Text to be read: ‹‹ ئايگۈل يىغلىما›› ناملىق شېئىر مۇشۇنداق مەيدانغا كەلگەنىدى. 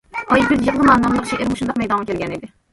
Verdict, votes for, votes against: rejected, 0, 2